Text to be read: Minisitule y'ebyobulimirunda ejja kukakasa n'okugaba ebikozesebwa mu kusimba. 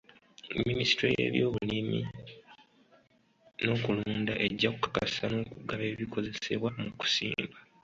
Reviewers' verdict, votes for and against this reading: accepted, 2, 1